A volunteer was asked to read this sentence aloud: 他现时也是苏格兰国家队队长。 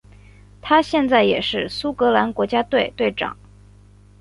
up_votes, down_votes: 3, 1